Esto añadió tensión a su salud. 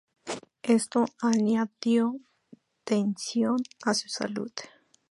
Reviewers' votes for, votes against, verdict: 2, 2, rejected